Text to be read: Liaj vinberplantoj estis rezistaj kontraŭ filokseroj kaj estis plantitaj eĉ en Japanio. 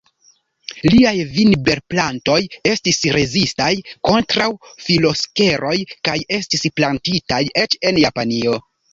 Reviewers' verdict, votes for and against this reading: rejected, 1, 2